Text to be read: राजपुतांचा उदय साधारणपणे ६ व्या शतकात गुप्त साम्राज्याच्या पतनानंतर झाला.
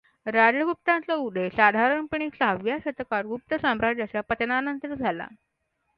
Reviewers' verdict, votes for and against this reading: rejected, 0, 2